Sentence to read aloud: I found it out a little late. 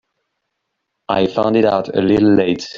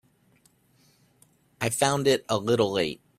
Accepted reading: first